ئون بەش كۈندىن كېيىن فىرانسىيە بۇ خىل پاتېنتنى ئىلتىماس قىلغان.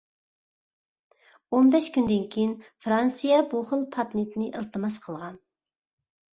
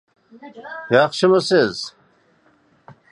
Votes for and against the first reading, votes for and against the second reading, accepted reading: 2, 0, 0, 2, first